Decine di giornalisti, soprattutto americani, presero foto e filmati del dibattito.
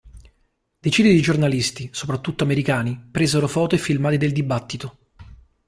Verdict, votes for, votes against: accepted, 2, 1